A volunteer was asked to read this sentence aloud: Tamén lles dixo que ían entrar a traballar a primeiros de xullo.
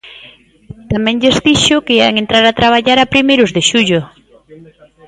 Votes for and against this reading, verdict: 0, 2, rejected